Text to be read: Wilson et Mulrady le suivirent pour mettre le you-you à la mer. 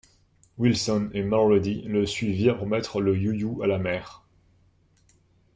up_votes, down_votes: 0, 2